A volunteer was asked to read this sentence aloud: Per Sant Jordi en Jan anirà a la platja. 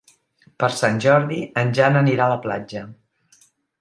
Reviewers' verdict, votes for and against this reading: accepted, 4, 0